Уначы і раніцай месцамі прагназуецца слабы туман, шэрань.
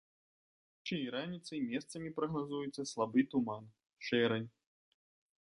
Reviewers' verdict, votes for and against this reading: rejected, 1, 2